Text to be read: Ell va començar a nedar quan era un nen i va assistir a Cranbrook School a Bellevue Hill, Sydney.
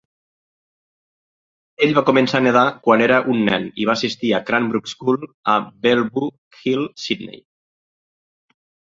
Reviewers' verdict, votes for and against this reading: accepted, 2, 1